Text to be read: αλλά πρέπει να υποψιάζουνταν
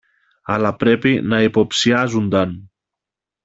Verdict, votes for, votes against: accepted, 2, 0